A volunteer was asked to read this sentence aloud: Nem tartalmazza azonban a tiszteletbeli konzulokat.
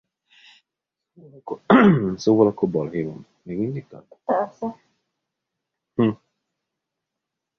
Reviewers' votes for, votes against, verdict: 0, 2, rejected